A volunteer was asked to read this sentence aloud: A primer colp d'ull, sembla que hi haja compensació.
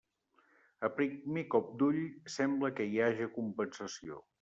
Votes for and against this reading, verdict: 0, 2, rejected